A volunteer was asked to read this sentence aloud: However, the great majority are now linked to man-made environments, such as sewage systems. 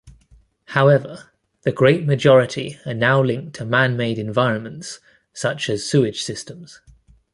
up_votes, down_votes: 2, 0